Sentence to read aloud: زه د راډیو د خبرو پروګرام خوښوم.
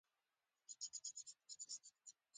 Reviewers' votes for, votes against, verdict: 1, 2, rejected